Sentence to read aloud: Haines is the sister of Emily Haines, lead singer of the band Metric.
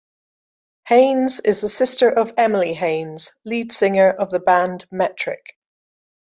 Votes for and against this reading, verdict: 2, 0, accepted